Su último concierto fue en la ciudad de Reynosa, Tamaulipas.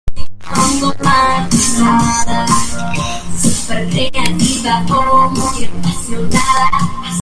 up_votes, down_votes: 0, 2